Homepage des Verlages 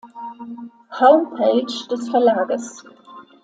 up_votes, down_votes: 2, 0